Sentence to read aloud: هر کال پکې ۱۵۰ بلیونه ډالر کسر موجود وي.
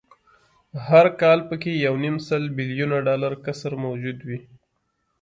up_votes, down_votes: 0, 2